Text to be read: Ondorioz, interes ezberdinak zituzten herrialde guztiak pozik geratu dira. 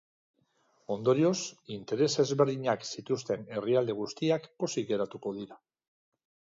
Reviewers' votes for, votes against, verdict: 1, 2, rejected